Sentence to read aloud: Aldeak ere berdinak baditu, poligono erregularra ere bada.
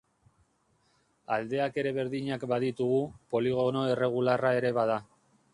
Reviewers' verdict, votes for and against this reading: rejected, 0, 2